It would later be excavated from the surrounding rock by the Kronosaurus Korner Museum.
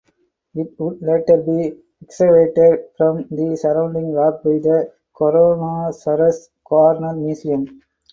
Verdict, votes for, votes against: rejected, 0, 2